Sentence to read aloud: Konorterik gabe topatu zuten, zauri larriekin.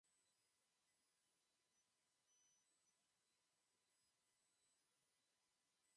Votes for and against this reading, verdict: 0, 2, rejected